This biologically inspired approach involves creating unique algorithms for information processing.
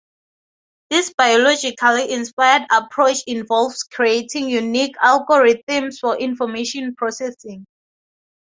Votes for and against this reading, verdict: 2, 0, accepted